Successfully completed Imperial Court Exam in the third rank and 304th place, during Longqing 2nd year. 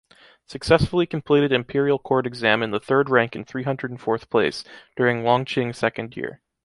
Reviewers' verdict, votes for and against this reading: rejected, 0, 2